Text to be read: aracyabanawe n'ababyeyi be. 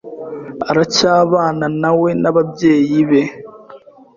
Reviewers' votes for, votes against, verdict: 2, 0, accepted